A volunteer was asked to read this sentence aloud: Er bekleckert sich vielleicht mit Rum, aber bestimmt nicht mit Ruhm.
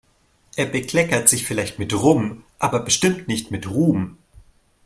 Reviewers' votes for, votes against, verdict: 2, 0, accepted